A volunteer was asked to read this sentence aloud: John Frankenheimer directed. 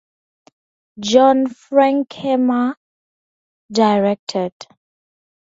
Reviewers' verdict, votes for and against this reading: rejected, 2, 2